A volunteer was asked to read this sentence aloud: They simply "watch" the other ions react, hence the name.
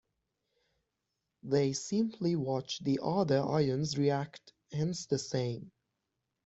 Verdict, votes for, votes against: rejected, 0, 2